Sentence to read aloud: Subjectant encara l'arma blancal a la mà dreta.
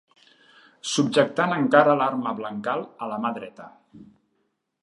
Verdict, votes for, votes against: accepted, 3, 0